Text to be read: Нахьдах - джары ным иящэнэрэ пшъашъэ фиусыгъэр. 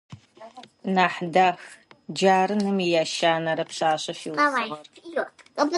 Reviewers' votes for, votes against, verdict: 0, 2, rejected